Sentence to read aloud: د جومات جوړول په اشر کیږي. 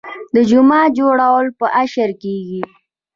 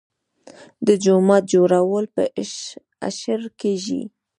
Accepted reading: first